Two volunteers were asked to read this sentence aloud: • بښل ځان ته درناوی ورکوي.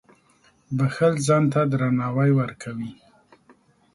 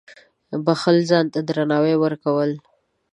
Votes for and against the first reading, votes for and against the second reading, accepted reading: 2, 0, 0, 2, first